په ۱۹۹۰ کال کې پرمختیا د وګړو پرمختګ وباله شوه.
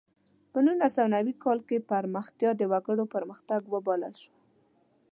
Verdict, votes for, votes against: rejected, 0, 2